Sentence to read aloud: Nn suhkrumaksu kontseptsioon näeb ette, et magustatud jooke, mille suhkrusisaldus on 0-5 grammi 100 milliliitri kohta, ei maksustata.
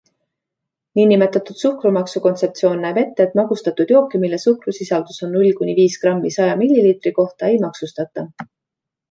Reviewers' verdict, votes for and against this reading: rejected, 0, 2